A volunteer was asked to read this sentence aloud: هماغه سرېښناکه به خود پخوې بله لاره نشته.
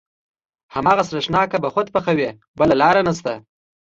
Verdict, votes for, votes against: accepted, 2, 0